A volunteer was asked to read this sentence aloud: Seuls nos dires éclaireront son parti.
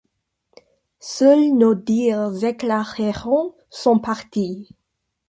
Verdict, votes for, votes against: rejected, 1, 2